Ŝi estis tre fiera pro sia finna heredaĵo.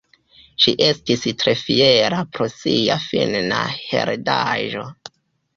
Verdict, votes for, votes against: rejected, 1, 2